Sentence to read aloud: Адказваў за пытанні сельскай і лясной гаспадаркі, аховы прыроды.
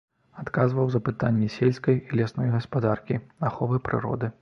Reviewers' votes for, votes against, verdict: 2, 0, accepted